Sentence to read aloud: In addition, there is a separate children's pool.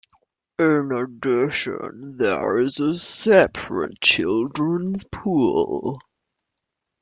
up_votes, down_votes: 1, 2